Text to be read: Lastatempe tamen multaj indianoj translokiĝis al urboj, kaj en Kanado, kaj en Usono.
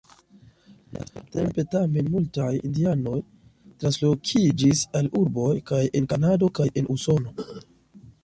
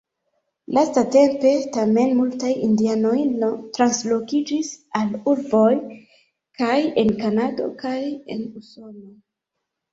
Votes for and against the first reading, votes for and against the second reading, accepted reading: 2, 0, 1, 2, first